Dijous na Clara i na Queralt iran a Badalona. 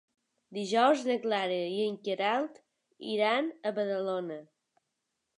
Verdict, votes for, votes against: rejected, 1, 3